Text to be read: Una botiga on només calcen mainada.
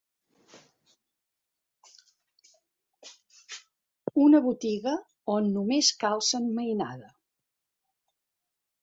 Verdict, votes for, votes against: rejected, 1, 2